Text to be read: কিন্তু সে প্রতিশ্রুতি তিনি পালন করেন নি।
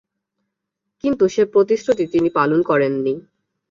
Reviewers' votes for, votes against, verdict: 7, 0, accepted